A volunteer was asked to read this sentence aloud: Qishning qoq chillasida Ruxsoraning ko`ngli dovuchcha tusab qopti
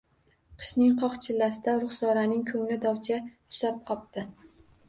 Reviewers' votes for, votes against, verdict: 2, 0, accepted